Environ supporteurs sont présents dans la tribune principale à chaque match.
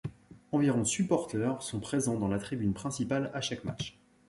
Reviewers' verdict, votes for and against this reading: accepted, 2, 0